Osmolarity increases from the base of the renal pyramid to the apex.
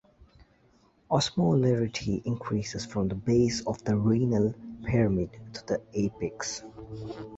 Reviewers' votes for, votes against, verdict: 2, 0, accepted